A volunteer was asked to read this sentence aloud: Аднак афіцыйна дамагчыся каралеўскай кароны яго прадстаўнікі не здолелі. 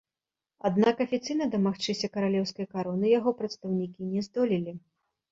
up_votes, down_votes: 2, 1